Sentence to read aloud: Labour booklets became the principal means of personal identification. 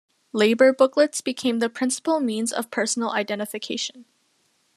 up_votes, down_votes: 2, 0